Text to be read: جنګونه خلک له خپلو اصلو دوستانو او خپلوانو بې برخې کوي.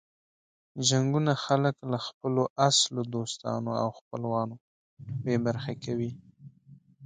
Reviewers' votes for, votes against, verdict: 3, 0, accepted